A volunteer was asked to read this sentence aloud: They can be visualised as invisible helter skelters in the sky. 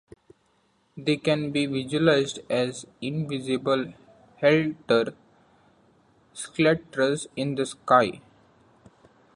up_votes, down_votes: 1, 2